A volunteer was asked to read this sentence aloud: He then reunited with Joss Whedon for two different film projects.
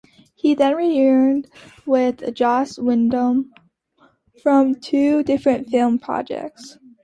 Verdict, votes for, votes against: rejected, 1, 2